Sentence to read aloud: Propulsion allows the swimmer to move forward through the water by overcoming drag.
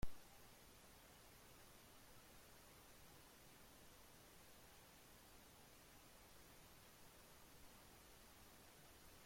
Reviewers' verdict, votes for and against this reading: rejected, 0, 2